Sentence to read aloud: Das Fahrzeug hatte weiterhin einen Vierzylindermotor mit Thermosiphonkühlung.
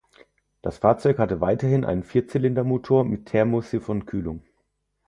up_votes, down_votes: 4, 2